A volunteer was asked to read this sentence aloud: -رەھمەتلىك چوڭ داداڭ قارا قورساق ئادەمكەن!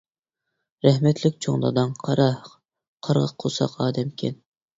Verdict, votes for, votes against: rejected, 0, 2